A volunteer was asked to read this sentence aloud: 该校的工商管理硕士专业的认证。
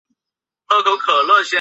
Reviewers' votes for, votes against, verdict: 0, 2, rejected